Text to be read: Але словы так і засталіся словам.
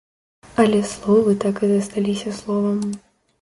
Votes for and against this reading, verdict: 1, 2, rejected